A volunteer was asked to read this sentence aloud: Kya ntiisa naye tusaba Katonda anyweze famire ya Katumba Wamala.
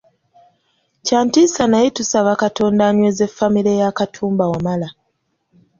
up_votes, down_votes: 2, 0